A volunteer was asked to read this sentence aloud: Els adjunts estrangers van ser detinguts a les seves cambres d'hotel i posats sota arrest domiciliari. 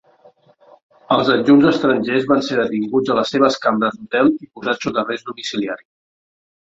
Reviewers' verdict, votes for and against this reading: rejected, 0, 2